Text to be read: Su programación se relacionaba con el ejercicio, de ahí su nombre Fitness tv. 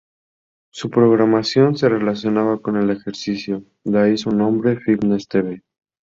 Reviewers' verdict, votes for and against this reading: rejected, 0, 2